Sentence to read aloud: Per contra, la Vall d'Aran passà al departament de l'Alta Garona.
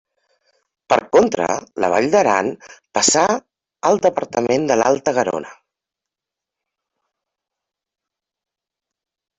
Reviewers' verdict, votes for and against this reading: accepted, 3, 0